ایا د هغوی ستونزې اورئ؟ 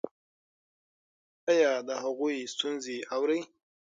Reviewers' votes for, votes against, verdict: 0, 6, rejected